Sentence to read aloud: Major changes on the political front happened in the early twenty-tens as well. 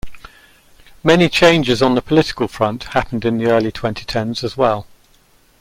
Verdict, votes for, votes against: rejected, 0, 2